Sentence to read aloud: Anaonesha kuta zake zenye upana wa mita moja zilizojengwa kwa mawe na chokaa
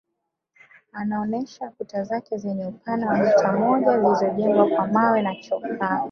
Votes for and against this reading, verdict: 2, 0, accepted